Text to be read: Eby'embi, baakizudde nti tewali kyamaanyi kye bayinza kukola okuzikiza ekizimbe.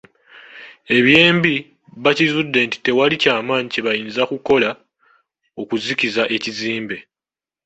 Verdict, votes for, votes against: accepted, 2, 0